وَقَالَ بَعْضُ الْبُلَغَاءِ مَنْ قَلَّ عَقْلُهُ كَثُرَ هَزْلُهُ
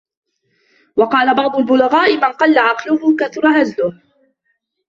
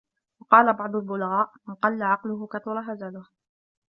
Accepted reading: first